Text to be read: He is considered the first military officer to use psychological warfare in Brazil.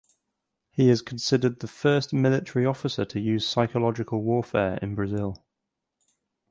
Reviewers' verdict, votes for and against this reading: accepted, 4, 0